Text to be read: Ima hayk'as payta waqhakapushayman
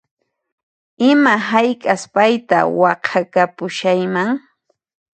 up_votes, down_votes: 0, 2